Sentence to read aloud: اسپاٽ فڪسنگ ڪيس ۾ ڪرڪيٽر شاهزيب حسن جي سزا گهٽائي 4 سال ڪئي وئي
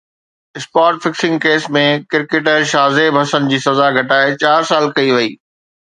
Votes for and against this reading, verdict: 0, 2, rejected